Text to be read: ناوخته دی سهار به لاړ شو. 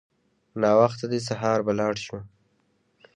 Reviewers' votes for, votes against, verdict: 2, 0, accepted